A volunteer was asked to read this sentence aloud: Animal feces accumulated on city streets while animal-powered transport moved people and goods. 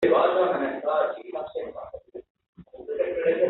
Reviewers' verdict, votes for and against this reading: rejected, 0, 2